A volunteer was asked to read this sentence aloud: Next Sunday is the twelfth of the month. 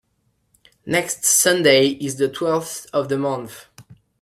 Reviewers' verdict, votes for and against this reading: rejected, 1, 2